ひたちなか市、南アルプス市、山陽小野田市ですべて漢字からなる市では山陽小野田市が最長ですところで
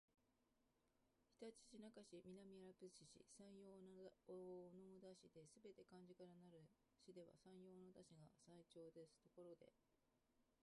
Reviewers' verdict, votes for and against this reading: rejected, 1, 2